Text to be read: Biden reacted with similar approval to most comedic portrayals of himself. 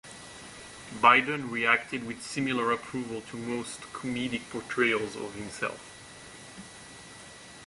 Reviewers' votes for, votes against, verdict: 2, 0, accepted